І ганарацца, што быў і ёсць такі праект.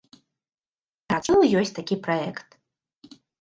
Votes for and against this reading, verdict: 0, 2, rejected